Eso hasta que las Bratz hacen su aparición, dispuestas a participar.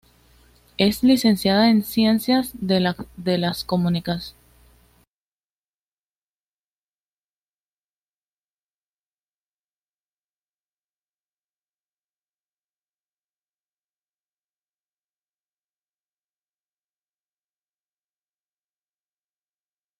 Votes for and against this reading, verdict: 1, 2, rejected